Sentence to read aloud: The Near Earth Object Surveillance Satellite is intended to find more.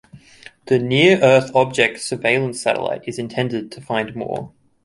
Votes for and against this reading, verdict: 1, 2, rejected